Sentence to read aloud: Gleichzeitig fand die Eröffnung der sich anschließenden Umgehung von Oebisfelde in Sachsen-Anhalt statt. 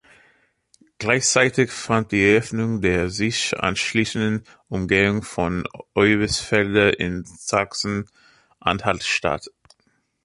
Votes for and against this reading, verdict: 2, 0, accepted